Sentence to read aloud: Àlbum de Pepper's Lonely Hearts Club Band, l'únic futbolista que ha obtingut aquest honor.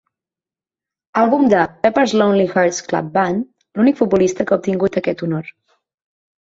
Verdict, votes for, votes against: accepted, 9, 0